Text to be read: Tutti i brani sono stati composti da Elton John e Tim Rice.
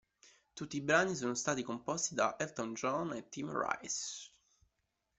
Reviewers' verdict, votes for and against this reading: rejected, 1, 2